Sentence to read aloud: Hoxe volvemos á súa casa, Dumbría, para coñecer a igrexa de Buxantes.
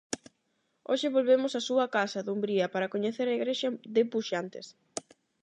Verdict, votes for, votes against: accepted, 8, 0